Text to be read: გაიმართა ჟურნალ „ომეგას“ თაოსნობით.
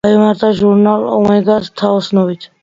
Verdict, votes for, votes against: accepted, 2, 0